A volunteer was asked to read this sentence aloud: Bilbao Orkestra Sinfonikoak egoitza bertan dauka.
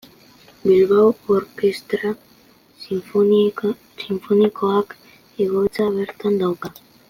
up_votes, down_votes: 2, 0